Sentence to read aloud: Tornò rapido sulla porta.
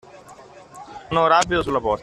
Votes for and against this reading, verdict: 0, 2, rejected